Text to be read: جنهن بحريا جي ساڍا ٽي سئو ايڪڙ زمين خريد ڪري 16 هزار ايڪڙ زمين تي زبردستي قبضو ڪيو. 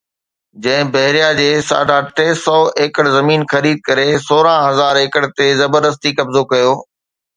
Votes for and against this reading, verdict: 0, 2, rejected